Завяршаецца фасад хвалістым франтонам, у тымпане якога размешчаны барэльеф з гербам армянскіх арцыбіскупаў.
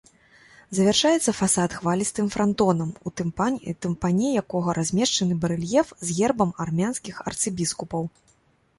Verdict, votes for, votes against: rejected, 0, 2